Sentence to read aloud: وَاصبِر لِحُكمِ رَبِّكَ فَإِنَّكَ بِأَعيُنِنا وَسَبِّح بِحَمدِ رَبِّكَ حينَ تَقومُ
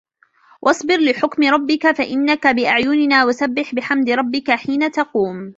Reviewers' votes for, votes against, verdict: 0, 2, rejected